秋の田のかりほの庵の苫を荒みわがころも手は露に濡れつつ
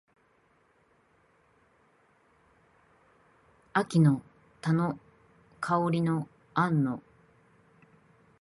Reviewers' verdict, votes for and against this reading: rejected, 0, 2